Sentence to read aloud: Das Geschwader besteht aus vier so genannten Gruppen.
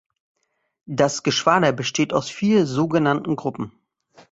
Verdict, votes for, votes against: accepted, 2, 0